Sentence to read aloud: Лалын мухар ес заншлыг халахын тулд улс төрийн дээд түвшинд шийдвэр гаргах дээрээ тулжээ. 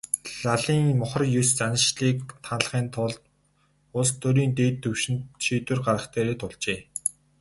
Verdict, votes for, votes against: accepted, 4, 2